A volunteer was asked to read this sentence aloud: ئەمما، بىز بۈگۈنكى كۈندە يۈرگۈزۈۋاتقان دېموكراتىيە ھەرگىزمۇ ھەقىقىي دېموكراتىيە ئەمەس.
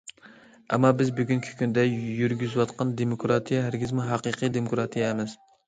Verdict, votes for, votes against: accepted, 2, 0